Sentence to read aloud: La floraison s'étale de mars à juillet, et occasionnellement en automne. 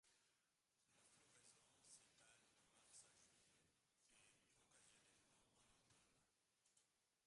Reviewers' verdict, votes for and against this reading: rejected, 0, 2